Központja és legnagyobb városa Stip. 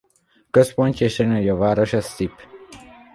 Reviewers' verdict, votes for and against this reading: rejected, 1, 2